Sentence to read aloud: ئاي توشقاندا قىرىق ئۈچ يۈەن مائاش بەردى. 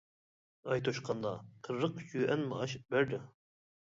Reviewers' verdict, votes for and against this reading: rejected, 1, 2